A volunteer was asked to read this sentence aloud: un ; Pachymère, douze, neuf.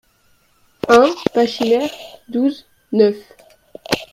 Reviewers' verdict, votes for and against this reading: rejected, 1, 2